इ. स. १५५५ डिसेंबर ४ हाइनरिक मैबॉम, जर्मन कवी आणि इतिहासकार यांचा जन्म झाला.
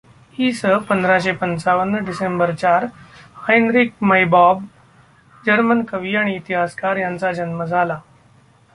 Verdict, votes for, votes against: rejected, 0, 2